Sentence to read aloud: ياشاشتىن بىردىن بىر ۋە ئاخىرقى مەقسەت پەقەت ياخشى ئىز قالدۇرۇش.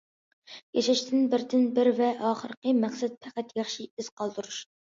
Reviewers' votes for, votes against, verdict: 2, 0, accepted